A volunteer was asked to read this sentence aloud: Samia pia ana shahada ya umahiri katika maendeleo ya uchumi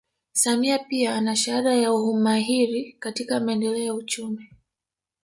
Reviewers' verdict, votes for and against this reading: rejected, 1, 2